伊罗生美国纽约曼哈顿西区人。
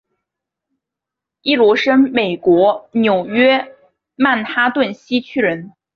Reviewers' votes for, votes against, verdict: 4, 0, accepted